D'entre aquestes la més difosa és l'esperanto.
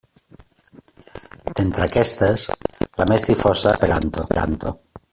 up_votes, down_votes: 0, 2